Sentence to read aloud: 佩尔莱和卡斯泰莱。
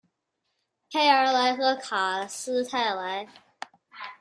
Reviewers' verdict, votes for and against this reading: accepted, 2, 0